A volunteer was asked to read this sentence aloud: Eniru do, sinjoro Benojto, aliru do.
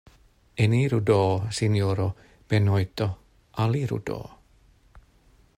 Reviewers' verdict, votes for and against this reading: accepted, 2, 0